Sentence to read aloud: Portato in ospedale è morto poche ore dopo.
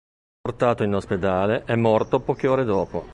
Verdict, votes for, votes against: accepted, 2, 0